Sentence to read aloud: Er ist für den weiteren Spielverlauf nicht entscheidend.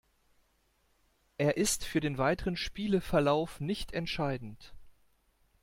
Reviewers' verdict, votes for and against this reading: rejected, 0, 2